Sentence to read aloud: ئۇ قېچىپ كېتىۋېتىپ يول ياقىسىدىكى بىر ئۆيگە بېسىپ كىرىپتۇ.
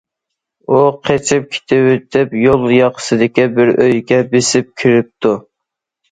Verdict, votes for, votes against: accepted, 2, 0